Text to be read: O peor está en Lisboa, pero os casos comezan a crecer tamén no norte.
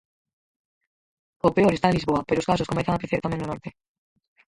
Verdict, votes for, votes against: rejected, 0, 4